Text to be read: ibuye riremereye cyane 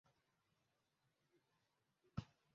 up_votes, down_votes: 0, 2